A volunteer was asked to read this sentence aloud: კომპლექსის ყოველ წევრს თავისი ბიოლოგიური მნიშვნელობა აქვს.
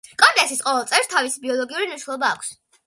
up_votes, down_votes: 2, 0